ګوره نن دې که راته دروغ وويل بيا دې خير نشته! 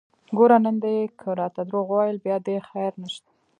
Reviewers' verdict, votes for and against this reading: rejected, 1, 2